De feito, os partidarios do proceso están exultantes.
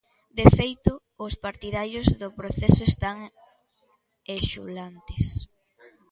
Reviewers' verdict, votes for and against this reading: rejected, 0, 2